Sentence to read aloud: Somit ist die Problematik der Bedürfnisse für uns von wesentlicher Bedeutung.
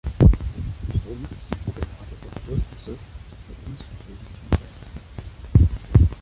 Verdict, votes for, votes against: rejected, 0, 2